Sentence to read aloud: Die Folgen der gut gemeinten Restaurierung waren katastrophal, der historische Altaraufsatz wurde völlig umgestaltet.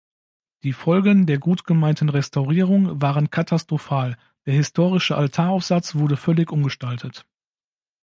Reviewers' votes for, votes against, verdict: 2, 0, accepted